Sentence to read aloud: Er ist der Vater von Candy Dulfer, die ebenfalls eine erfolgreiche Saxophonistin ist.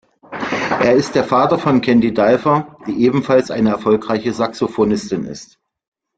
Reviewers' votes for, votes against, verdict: 1, 2, rejected